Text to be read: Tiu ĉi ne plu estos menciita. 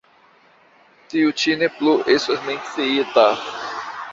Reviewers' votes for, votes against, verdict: 1, 2, rejected